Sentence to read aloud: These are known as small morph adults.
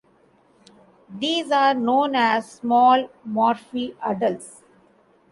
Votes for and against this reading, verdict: 2, 0, accepted